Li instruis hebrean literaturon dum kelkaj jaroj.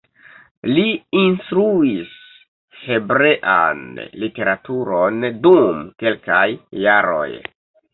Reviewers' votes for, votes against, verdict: 2, 0, accepted